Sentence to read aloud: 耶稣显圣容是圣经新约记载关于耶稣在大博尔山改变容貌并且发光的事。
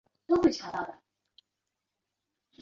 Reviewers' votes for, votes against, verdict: 0, 2, rejected